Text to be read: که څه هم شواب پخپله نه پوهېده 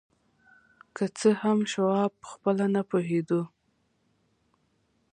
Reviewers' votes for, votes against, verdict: 2, 0, accepted